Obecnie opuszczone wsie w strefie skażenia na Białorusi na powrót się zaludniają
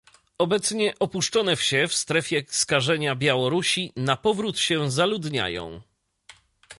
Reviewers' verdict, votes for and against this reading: rejected, 1, 2